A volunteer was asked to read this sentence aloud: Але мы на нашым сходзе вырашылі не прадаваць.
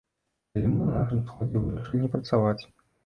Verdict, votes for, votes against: rejected, 0, 2